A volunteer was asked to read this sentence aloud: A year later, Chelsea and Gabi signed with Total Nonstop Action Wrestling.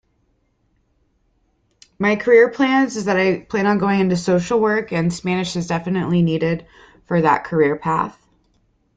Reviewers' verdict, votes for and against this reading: rejected, 0, 2